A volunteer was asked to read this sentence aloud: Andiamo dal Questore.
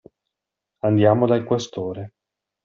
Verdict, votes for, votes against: accepted, 2, 0